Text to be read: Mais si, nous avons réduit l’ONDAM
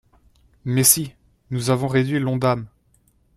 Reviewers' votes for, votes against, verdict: 2, 0, accepted